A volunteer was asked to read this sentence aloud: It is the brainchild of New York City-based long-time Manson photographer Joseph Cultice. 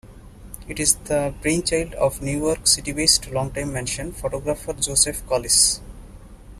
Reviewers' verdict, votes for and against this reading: rejected, 0, 2